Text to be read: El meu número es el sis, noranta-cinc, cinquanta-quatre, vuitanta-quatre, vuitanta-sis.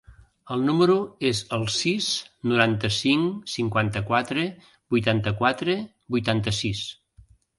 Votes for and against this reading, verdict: 0, 2, rejected